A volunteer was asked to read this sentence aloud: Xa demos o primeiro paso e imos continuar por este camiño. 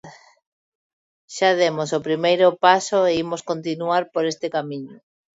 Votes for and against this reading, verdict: 2, 0, accepted